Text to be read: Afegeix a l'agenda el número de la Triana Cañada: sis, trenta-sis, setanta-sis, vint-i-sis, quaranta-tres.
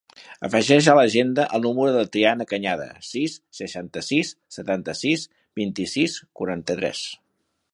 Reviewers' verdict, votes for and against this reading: accepted, 2, 1